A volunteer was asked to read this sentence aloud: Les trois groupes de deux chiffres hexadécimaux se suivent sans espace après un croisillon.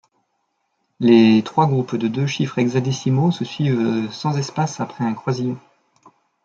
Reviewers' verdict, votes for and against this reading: accepted, 2, 0